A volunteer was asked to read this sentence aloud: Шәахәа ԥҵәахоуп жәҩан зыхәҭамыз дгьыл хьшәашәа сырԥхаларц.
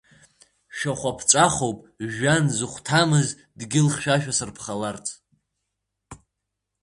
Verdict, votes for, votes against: accepted, 4, 0